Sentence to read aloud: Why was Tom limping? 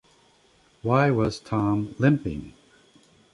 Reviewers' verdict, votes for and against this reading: accepted, 2, 0